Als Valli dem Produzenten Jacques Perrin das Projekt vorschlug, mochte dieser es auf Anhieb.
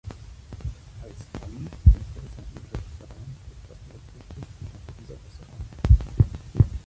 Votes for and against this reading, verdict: 0, 2, rejected